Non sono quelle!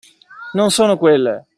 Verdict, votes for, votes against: accepted, 2, 0